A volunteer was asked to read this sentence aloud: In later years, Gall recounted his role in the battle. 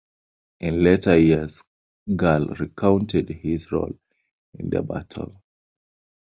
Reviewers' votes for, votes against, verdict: 2, 1, accepted